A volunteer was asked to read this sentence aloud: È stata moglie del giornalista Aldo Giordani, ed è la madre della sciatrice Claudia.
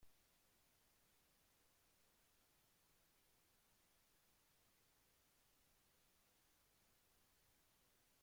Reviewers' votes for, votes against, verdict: 0, 2, rejected